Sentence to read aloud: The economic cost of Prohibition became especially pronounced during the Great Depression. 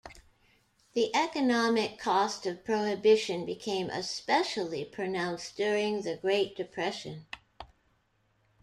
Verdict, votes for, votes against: accepted, 2, 0